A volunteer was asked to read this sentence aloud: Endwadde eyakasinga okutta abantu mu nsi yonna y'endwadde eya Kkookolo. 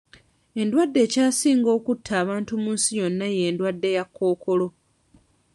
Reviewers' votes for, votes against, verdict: 1, 2, rejected